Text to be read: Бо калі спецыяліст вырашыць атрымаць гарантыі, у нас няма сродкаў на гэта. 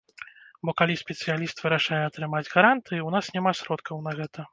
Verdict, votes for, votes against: rejected, 0, 2